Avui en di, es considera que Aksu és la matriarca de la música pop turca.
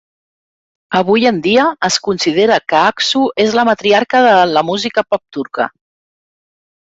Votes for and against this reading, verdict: 1, 2, rejected